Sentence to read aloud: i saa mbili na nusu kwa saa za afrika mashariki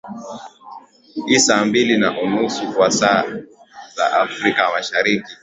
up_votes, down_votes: 2, 0